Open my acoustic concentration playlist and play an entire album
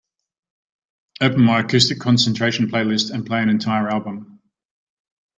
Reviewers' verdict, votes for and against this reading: accepted, 2, 0